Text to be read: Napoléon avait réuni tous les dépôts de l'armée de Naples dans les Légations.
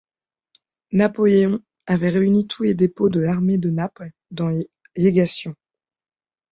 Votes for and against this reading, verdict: 1, 2, rejected